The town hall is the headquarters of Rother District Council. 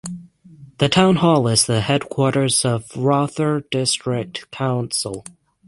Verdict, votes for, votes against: accepted, 6, 0